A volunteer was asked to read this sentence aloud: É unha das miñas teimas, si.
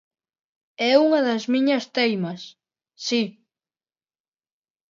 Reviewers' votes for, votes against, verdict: 2, 0, accepted